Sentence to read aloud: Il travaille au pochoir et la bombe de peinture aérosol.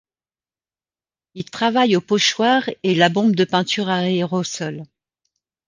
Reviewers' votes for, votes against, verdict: 0, 2, rejected